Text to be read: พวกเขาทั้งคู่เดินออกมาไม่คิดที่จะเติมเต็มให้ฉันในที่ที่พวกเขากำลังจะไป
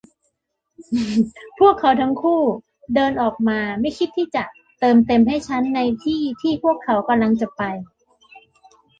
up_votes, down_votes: 0, 2